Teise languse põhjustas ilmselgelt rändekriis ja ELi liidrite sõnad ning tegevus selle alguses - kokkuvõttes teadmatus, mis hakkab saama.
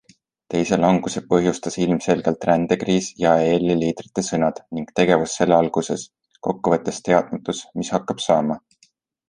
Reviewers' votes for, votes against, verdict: 2, 1, accepted